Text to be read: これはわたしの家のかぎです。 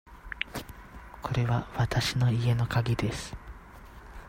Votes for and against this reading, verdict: 2, 0, accepted